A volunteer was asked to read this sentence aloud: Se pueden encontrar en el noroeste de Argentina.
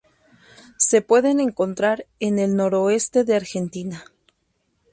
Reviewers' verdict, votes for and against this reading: accepted, 2, 0